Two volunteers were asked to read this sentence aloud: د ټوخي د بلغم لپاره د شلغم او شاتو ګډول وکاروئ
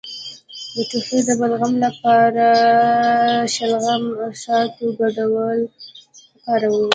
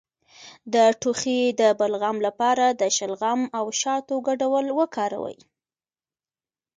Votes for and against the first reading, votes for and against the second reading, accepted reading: 1, 2, 2, 0, second